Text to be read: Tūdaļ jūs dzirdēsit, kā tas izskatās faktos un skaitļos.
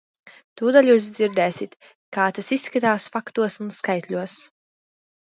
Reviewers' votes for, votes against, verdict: 2, 0, accepted